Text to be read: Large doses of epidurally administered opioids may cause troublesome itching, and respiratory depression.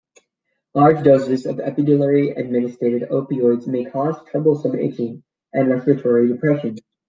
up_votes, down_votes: 0, 2